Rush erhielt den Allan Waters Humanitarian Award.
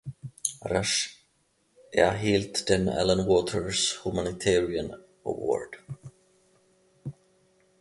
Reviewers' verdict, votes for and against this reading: accepted, 2, 0